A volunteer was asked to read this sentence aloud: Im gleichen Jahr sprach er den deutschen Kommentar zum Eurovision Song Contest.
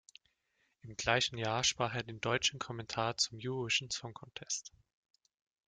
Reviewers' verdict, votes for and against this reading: rejected, 1, 2